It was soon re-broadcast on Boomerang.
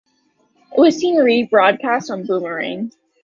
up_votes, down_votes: 0, 2